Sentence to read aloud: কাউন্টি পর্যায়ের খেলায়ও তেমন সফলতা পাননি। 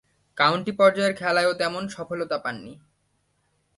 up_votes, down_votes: 10, 0